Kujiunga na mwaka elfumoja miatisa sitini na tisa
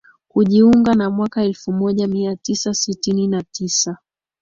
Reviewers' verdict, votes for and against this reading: accepted, 2, 0